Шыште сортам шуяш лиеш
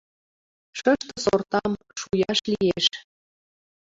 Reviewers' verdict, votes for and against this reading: accepted, 2, 1